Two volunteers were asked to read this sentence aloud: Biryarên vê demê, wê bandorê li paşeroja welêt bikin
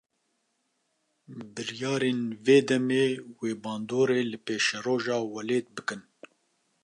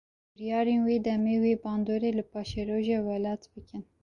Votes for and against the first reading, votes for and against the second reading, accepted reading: 0, 2, 2, 0, second